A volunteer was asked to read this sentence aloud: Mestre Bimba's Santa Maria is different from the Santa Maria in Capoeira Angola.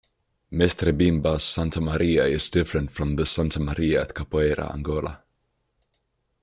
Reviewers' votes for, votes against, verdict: 1, 2, rejected